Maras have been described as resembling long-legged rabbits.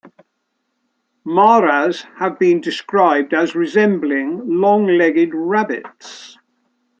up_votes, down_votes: 2, 0